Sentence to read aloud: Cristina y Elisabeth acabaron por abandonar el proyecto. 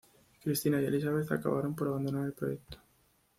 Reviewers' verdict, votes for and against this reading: accepted, 2, 0